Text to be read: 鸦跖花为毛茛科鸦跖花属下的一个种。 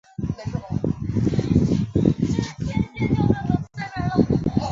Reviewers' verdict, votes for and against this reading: rejected, 0, 3